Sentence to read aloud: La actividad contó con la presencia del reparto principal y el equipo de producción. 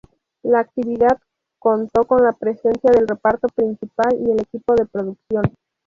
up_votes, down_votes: 0, 4